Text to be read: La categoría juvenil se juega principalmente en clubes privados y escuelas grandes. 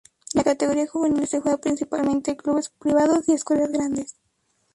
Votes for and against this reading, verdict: 0, 2, rejected